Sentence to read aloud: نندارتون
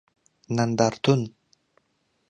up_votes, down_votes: 2, 0